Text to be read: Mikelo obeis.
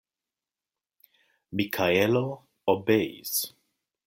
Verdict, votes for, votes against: rejected, 0, 2